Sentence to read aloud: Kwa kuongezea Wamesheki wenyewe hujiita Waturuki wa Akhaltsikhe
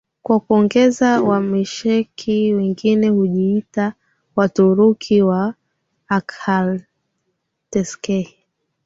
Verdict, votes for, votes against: accepted, 6, 5